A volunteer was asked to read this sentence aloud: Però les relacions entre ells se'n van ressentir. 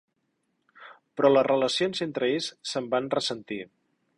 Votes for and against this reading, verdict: 4, 0, accepted